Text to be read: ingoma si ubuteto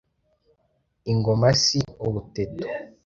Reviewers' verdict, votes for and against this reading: accepted, 2, 0